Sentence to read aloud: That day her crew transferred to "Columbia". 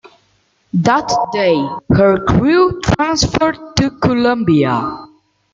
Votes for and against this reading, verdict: 2, 1, accepted